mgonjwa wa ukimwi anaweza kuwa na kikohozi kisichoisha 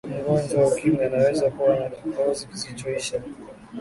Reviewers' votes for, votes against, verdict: 3, 0, accepted